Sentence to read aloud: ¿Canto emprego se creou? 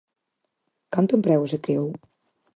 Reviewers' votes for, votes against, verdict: 4, 0, accepted